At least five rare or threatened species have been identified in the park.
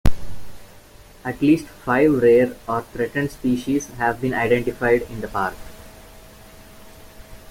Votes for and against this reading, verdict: 3, 0, accepted